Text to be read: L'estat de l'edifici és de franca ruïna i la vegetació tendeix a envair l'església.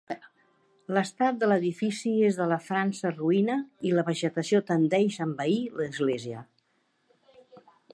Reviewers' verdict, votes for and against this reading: rejected, 0, 2